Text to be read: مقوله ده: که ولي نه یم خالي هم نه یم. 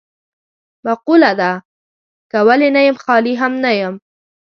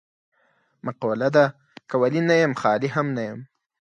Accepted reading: second